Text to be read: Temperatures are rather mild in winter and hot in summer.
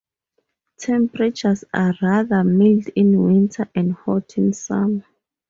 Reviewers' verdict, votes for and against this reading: rejected, 2, 4